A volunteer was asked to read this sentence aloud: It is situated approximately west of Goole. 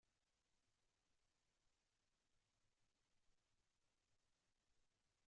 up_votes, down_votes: 0, 2